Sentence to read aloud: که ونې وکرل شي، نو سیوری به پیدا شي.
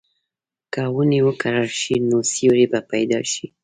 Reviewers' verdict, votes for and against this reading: accepted, 2, 0